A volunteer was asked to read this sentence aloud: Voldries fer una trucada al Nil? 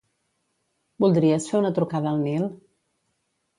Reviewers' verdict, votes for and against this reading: accepted, 2, 0